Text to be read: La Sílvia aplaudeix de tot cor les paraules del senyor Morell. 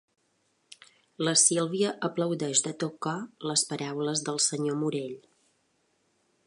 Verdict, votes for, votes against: accepted, 3, 0